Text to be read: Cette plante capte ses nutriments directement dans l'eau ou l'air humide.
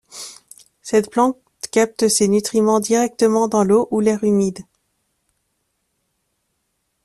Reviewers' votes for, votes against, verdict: 1, 2, rejected